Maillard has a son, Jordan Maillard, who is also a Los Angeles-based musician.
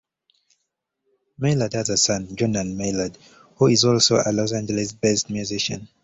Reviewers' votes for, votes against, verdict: 1, 2, rejected